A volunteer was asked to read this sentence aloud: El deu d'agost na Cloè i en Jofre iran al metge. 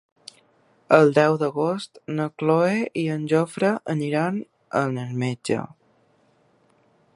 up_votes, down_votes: 0, 2